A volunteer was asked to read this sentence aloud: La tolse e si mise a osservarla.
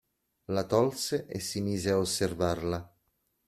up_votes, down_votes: 2, 0